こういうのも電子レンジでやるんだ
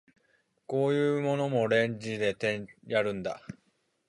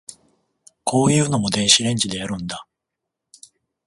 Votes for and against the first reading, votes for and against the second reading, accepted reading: 0, 2, 14, 0, second